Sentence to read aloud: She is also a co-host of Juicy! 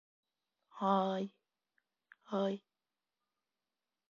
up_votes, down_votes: 0, 2